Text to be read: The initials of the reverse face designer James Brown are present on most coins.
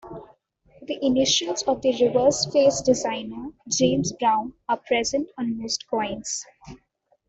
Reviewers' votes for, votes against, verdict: 2, 0, accepted